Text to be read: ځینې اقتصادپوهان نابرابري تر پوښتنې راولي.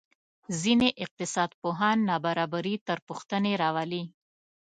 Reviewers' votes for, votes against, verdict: 2, 0, accepted